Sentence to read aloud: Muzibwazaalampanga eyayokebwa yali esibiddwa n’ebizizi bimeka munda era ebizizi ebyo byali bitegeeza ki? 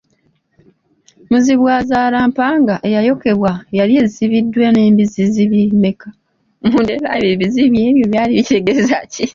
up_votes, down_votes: 0, 2